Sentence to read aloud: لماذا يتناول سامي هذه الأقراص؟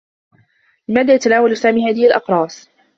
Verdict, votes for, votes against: rejected, 1, 2